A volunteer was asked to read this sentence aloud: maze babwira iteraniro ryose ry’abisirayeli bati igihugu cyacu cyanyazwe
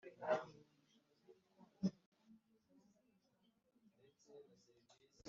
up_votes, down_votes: 0, 2